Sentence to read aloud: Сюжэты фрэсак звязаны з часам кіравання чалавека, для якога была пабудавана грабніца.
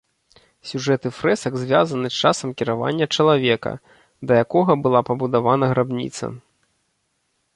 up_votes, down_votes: 0, 2